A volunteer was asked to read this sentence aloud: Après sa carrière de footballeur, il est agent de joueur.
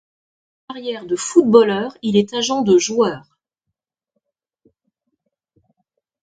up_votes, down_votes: 0, 2